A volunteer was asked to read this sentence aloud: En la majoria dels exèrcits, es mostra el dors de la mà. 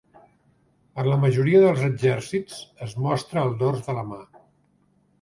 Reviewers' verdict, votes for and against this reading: accepted, 3, 0